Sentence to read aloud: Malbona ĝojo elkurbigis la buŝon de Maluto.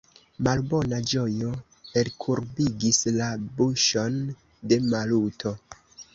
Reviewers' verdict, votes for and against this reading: rejected, 0, 2